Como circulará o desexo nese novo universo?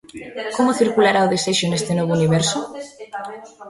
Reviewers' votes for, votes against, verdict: 0, 2, rejected